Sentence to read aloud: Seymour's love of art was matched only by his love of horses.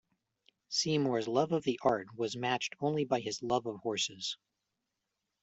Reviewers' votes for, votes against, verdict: 1, 2, rejected